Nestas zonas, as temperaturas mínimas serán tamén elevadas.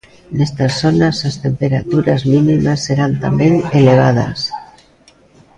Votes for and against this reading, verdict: 2, 0, accepted